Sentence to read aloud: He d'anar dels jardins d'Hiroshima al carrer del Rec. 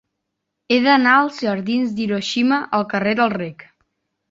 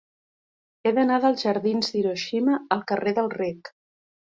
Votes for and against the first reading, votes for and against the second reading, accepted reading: 1, 2, 4, 0, second